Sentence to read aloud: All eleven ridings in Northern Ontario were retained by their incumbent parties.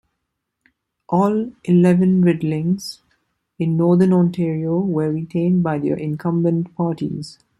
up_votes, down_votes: 0, 2